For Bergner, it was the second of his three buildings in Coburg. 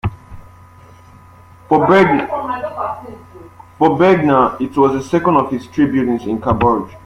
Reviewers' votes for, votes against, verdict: 0, 2, rejected